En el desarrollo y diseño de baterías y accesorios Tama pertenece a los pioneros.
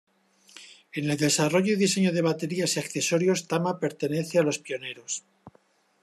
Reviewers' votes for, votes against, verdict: 2, 0, accepted